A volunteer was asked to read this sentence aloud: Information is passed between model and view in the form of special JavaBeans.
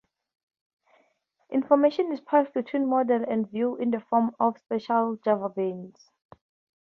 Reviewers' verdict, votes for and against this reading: rejected, 2, 2